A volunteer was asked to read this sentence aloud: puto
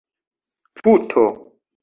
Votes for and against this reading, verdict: 1, 2, rejected